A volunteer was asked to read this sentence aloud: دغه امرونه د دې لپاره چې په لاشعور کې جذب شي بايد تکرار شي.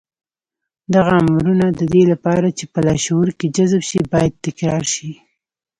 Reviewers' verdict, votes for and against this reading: accepted, 2, 0